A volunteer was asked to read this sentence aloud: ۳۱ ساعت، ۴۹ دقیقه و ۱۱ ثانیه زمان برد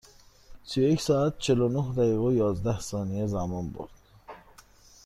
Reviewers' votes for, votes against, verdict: 0, 2, rejected